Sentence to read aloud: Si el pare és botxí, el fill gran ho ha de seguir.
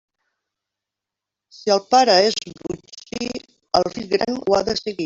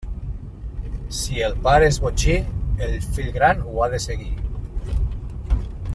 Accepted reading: second